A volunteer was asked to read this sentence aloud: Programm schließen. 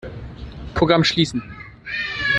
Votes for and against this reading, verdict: 1, 2, rejected